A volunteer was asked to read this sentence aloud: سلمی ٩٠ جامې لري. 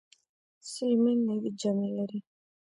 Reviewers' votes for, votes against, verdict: 0, 2, rejected